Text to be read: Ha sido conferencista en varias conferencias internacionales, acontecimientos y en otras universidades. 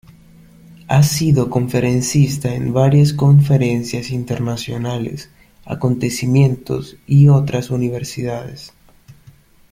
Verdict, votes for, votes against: rejected, 0, 2